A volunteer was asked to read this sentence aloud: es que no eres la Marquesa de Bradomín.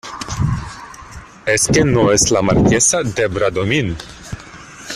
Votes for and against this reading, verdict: 1, 2, rejected